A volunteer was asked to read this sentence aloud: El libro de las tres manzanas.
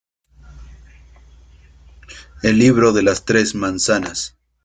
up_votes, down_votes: 1, 2